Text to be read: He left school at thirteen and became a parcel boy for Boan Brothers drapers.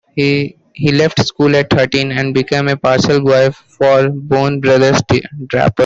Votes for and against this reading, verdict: 2, 1, accepted